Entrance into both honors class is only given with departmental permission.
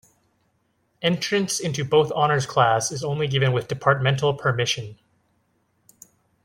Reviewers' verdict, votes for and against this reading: accepted, 4, 0